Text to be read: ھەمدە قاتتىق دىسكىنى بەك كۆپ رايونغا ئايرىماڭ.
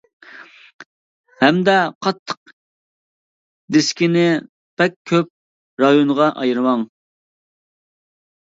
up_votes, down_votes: 2, 0